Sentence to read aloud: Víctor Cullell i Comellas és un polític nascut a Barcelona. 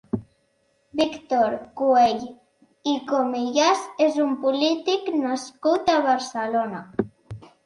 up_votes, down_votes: 2, 1